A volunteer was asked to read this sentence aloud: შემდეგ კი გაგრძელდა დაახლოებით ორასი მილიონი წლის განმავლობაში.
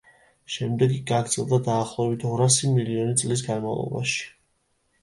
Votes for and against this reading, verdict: 2, 0, accepted